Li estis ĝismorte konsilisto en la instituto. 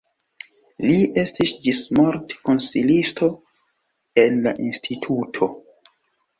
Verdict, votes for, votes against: rejected, 1, 2